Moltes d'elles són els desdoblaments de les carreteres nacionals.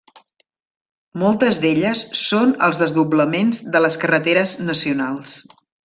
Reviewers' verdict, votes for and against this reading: rejected, 0, 2